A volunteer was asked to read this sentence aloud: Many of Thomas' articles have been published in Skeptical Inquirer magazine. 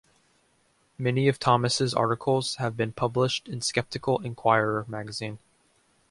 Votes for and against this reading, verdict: 2, 0, accepted